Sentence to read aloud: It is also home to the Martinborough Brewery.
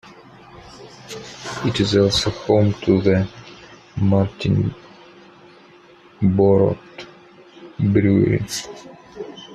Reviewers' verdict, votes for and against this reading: rejected, 0, 3